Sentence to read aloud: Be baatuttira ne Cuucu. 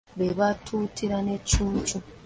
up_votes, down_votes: 1, 2